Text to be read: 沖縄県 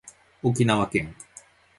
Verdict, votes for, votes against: accepted, 4, 0